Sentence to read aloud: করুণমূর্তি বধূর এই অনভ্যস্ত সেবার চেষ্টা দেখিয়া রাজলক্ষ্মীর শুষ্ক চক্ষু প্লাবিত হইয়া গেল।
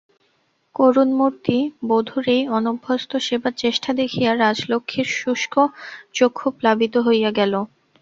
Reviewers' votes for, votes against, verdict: 2, 0, accepted